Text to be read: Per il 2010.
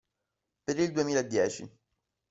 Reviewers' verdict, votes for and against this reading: rejected, 0, 2